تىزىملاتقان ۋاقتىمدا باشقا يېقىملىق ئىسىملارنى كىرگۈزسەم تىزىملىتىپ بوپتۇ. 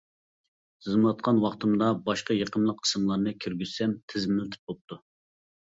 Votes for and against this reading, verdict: 2, 0, accepted